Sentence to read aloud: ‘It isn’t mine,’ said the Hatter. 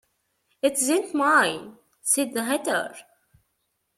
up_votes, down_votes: 1, 2